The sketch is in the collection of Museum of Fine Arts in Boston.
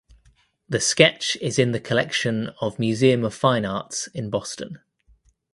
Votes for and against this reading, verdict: 2, 0, accepted